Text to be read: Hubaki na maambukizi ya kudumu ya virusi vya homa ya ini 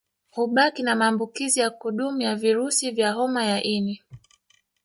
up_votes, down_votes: 1, 2